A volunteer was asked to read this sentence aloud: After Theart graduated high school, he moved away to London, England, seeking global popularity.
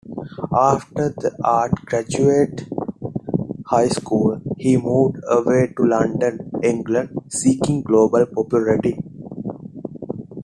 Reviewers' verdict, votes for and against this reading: accepted, 2, 1